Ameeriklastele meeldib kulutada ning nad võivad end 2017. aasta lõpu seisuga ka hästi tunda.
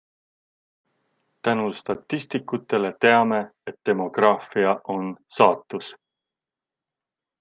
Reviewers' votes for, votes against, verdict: 0, 2, rejected